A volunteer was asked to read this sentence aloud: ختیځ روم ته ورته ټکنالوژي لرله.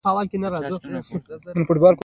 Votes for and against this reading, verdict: 0, 2, rejected